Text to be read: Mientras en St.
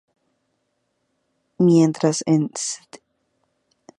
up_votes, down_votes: 0, 2